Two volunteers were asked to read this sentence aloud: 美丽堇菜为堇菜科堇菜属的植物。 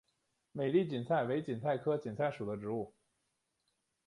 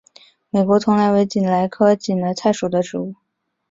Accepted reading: first